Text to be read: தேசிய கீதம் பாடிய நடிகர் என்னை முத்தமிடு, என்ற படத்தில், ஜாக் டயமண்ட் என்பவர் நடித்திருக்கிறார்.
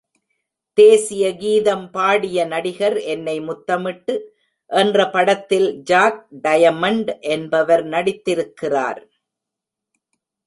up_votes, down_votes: 0, 2